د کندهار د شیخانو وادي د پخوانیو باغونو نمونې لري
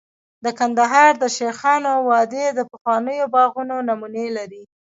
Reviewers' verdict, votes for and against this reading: accepted, 2, 1